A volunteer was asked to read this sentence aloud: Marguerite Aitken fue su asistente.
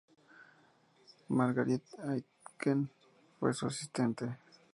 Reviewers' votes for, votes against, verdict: 2, 0, accepted